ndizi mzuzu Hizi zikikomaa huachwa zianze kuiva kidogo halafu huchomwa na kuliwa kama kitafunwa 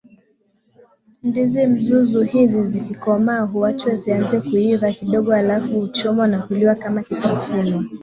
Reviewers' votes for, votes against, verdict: 6, 3, accepted